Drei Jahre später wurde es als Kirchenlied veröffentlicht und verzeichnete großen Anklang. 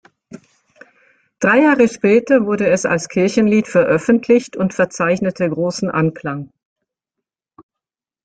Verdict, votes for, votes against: accepted, 2, 0